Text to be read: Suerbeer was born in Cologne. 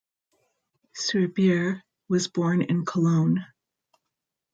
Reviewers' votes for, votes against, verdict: 0, 2, rejected